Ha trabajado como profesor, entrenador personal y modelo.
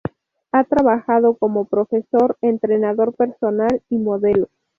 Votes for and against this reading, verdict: 2, 0, accepted